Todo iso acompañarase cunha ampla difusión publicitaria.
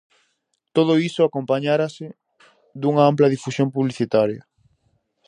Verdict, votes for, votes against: rejected, 0, 4